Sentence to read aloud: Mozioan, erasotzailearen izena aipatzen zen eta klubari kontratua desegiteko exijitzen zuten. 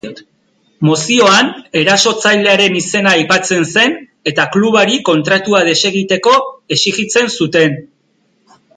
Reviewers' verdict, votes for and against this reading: accepted, 2, 0